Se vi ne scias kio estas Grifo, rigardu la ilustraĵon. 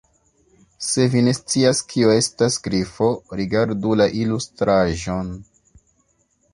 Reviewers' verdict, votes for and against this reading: accepted, 3, 0